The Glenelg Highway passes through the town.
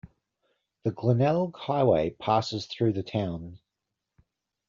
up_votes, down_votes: 2, 0